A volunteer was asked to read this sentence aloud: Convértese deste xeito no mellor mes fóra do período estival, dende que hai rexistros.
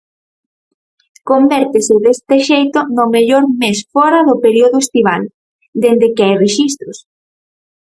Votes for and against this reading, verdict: 0, 4, rejected